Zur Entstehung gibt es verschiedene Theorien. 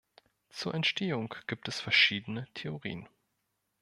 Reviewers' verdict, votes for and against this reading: rejected, 1, 2